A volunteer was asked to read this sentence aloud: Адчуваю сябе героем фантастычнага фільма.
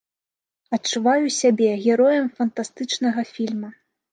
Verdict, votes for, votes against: accepted, 2, 0